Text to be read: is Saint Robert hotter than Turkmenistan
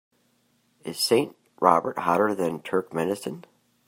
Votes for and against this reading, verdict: 3, 0, accepted